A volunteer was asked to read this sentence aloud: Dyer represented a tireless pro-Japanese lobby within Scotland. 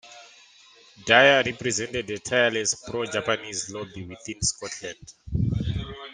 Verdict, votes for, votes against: accepted, 2, 1